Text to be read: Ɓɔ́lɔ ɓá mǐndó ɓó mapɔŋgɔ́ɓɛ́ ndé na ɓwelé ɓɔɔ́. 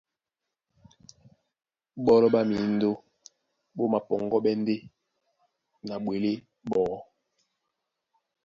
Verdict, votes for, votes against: accepted, 2, 0